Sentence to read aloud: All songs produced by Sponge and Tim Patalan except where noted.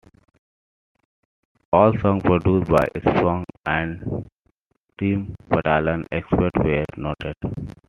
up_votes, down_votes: 1, 2